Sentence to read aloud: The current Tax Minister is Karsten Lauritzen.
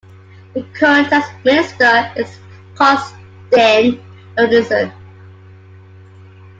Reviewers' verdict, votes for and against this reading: accepted, 2, 0